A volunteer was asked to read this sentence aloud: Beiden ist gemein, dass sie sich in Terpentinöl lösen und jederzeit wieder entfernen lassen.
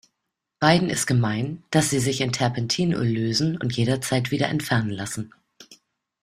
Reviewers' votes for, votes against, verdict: 2, 0, accepted